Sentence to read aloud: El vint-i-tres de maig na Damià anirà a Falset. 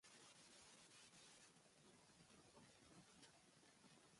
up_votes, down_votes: 0, 2